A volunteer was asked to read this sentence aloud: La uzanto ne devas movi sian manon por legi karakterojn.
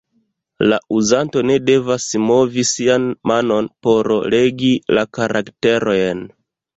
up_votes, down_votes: 0, 2